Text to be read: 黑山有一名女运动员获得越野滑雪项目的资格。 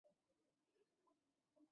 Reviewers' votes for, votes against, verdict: 0, 2, rejected